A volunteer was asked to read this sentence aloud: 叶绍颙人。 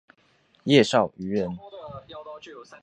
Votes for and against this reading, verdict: 1, 2, rejected